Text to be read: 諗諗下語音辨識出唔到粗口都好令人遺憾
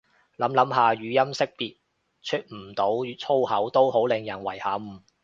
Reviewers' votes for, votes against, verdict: 2, 0, accepted